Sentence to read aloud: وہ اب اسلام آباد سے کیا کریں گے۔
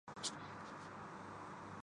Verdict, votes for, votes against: rejected, 1, 2